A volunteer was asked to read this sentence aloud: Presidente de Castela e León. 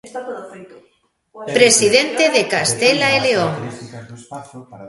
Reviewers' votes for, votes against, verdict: 0, 3, rejected